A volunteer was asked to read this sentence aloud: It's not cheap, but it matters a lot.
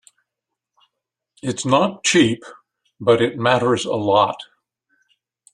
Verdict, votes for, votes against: accepted, 2, 0